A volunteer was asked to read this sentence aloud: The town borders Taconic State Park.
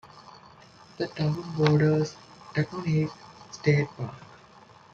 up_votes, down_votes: 2, 0